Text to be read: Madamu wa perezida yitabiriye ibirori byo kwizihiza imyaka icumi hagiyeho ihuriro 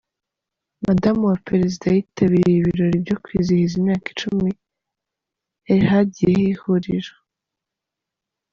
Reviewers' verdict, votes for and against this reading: rejected, 0, 3